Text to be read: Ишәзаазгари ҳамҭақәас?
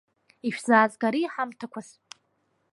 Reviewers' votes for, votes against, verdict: 2, 0, accepted